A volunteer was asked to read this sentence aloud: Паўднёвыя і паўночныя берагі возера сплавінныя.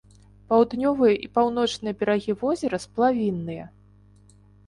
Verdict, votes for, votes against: accepted, 3, 0